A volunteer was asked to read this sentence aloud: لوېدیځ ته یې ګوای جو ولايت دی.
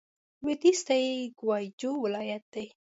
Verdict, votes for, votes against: accepted, 2, 0